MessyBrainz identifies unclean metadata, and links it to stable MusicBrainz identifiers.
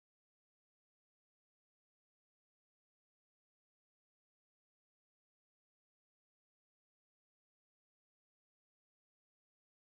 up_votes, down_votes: 0, 2